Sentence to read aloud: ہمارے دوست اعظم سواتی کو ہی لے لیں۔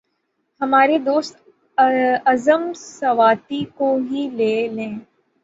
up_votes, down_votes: 3, 6